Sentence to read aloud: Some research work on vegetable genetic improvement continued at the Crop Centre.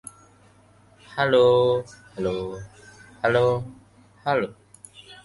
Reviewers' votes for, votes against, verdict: 0, 2, rejected